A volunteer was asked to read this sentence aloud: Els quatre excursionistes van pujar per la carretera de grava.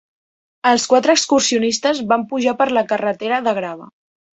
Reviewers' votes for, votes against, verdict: 3, 0, accepted